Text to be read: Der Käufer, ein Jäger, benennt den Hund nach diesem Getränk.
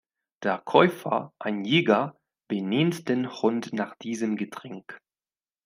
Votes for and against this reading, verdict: 1, 2, rejected